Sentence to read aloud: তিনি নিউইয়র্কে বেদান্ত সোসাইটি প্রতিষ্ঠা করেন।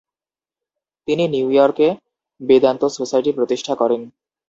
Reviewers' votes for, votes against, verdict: 2, 0, accepted